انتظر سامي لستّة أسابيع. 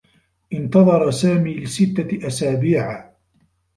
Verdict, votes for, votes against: accepted, 2, 1